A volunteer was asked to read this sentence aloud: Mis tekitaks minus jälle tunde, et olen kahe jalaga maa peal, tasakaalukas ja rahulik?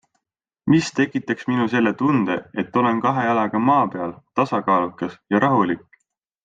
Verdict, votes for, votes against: accepted, 3, 0